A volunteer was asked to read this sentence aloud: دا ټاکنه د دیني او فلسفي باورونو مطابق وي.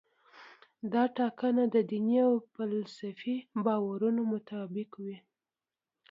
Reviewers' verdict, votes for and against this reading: rejected, 1, 2